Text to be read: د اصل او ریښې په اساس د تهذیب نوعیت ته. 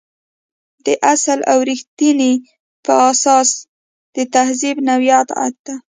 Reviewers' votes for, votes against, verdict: 1, 2, rejected